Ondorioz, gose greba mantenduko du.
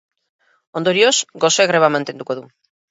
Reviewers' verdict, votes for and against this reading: accepted, 4, 0